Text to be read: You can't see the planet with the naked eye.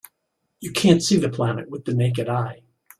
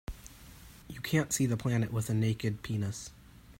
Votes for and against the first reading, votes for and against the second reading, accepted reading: 2, 0, 0, 2, first